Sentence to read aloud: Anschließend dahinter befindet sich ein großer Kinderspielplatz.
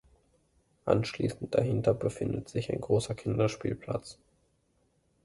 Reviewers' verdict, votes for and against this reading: accepted, 2, 1